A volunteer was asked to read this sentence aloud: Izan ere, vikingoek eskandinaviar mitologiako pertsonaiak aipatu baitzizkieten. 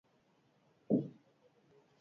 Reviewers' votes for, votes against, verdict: 0, 4, rejected